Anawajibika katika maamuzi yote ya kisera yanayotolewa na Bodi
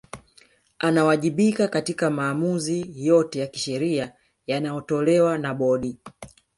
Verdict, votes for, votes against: rejected, 0, 2